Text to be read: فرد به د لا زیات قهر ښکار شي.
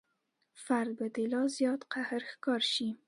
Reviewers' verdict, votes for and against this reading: accepted, 2, 0